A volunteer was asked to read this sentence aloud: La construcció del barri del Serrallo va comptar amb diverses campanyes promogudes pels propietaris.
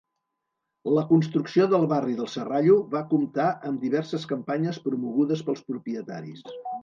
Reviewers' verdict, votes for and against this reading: rejected, 0, 2